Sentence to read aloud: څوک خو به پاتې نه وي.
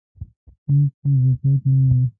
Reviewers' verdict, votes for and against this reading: rejected, 0, 2